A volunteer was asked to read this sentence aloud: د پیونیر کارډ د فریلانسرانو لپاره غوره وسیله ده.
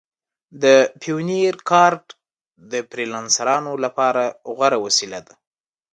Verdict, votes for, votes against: accepted, 2, 0